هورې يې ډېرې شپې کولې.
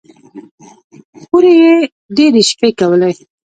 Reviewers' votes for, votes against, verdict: 1, 2, rejected